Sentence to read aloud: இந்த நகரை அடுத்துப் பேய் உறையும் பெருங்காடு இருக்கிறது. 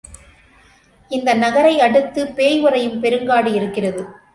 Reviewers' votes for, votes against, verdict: 2, 0, accepted